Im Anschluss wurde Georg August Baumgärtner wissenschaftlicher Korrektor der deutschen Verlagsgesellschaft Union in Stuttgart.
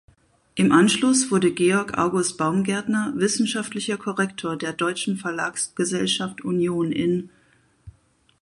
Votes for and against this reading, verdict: 0, 4, rejected